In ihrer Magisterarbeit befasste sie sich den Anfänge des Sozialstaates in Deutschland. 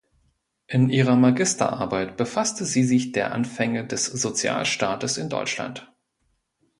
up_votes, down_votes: 0, 2